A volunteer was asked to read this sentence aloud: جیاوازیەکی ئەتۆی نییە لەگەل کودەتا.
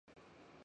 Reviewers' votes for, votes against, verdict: 0, 4, rejected